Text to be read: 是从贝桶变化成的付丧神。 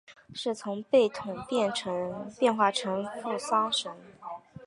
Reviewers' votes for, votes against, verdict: 3, 0, accepted